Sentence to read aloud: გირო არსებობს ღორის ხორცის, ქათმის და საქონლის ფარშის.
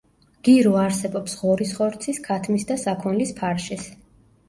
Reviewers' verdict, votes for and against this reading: accepted, 2, 0